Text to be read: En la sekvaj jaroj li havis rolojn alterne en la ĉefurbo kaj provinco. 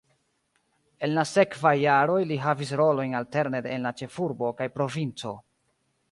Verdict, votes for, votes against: rejected, 0, 2